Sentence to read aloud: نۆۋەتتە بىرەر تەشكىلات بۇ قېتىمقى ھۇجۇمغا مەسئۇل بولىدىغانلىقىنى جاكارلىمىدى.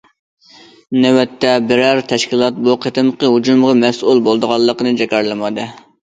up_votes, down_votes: 2, 0